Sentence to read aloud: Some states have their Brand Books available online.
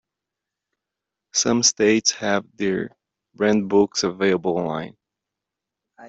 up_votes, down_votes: 2, 1